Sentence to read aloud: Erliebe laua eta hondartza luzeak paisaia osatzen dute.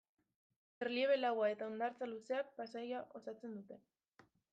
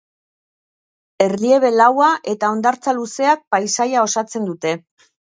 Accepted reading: second